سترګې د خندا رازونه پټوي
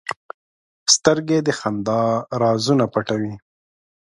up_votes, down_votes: 2, 0